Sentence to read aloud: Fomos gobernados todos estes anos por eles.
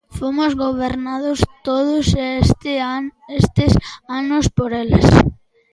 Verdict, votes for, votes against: rejected, 0, 2